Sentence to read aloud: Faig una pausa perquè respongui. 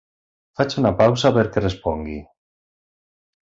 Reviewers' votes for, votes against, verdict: 3, 0, accepted